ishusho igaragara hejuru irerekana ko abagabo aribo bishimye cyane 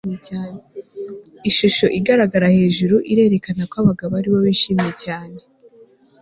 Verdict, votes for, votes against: accepted, 2, 0